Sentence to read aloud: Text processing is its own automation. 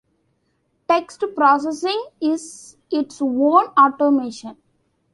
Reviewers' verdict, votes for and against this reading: rejected, 1, 2